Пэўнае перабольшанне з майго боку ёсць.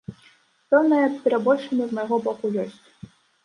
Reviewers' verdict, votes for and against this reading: rejected, 1, 2